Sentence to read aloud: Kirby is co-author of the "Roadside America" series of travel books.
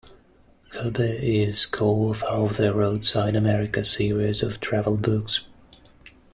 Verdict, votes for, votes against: accepted, 2, 0